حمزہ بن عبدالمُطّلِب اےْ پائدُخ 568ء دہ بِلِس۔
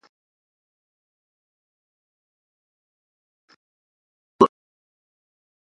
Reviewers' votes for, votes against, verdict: 0, 2, rejected